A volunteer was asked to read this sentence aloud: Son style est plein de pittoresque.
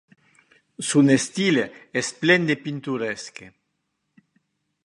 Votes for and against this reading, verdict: 1, 2, rejected